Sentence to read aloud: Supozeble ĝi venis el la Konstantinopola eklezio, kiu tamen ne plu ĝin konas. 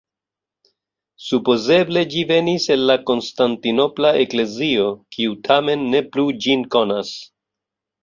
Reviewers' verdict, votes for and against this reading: accepted, 2, 0